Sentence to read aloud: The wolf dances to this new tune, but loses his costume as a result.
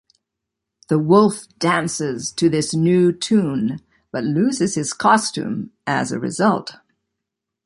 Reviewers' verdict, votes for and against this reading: accepted, 2, 0